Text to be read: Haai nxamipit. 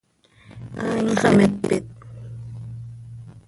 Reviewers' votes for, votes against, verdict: 1, 2, rejected